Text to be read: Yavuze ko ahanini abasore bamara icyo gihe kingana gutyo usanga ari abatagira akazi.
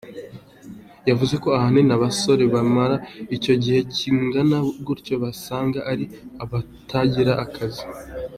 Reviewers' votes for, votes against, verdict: 2, 1, accepted